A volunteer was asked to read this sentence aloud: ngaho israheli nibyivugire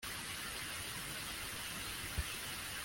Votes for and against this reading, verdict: 0, 2, rejected